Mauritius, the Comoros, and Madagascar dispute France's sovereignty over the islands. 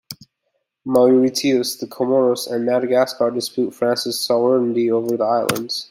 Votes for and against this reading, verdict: 0, 2, rejected